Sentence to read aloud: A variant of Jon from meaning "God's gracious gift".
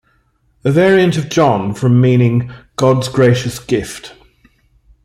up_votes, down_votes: 2, 0